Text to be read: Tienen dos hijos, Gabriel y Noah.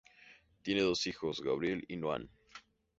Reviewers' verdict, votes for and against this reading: accepted, 2, 0